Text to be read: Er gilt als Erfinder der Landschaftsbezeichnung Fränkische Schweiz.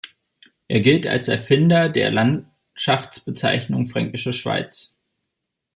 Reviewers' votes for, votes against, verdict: 1, 2, rejected